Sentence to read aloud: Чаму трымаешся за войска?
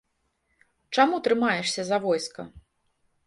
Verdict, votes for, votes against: accepted, 2, 0